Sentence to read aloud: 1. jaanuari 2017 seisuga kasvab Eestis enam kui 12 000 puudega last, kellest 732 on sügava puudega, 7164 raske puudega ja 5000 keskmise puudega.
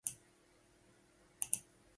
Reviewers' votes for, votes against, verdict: 0, 2, rejected